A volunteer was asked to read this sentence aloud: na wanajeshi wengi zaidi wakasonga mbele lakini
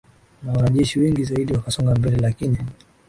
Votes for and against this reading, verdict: 2, 0, accepted